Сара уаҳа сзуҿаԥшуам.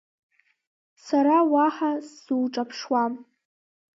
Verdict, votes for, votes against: accepted, 2, 0